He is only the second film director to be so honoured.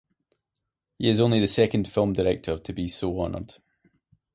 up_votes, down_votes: 2, 0